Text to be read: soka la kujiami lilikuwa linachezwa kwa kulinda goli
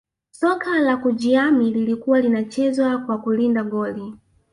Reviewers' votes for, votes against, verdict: 1, 2, rejected